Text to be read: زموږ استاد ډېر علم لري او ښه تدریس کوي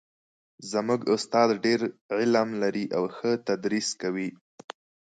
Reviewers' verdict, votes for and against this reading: accepted, 2, 0